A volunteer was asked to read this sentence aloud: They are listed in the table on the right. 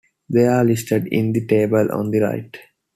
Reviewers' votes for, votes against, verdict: 2, 0, accepted